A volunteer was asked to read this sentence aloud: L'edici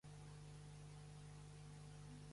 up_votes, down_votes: 0, 2